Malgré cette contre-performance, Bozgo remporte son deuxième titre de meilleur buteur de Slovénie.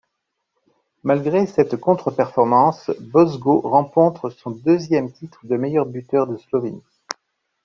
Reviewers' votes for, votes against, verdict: 1, 2, rejected